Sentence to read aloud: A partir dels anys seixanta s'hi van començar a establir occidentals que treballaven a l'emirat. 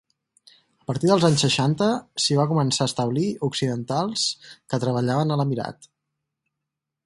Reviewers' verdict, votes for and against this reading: rejected, 0, 4